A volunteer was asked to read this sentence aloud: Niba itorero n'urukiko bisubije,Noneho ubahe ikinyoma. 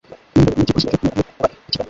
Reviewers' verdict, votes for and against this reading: rejected, 0, 2